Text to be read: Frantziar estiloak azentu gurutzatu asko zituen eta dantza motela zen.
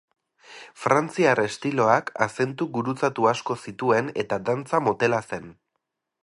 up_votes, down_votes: 4, 0